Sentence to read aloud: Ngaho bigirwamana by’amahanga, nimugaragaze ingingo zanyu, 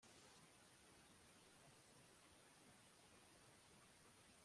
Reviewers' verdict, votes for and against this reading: rejected, 0, 2